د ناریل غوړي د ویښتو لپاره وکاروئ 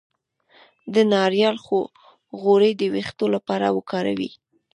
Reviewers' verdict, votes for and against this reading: rejected, 1, 2